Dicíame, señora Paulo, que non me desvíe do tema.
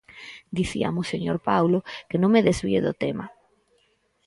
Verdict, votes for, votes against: rejected, 0, 4